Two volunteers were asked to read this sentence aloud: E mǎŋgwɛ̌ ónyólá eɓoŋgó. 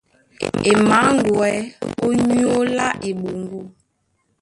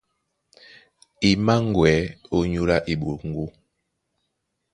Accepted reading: second